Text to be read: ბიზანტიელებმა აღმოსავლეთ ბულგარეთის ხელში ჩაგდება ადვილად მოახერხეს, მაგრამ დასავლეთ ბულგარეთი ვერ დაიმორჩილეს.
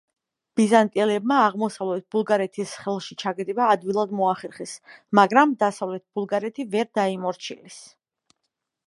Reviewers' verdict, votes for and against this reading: rejected, 1, 2